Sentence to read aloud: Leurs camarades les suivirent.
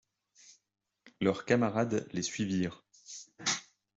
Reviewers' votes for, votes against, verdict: 3, 0, accepted